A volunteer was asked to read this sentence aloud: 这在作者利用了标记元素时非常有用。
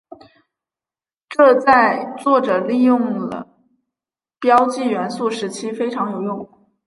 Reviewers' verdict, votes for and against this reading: accepted, 3, 0